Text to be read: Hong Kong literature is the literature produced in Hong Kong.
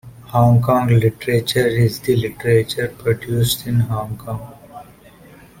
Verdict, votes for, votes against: accepted, 2, 0